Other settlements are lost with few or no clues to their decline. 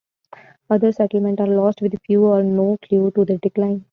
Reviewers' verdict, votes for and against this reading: rejected, 1, 2